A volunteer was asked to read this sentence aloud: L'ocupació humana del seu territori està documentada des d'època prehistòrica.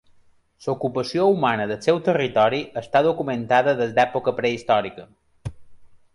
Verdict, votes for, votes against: accepted, 2, 0